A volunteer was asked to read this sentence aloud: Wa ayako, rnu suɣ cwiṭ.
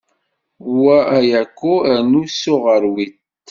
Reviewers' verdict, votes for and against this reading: rejected, 1, 2